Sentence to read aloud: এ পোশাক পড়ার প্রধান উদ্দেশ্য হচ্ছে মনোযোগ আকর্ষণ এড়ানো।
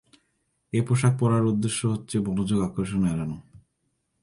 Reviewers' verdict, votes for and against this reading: rejected, 0, 2